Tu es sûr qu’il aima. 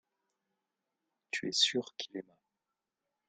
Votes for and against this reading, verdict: 1, 2, rejected